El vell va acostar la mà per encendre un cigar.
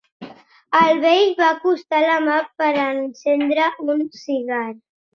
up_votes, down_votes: 3, 0